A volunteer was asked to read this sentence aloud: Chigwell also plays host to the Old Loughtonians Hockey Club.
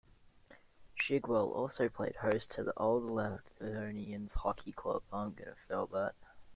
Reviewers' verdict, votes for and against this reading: rejected, 0, 2